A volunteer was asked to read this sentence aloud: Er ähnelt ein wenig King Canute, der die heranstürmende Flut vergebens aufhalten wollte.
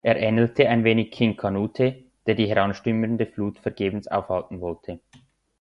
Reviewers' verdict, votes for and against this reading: rejected, 1, 2